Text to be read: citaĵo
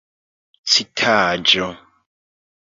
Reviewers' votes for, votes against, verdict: 1, 2, rejected